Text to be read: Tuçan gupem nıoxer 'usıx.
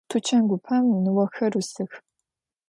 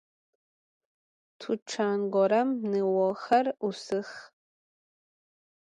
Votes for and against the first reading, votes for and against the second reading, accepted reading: 2, 0, 0, 2, first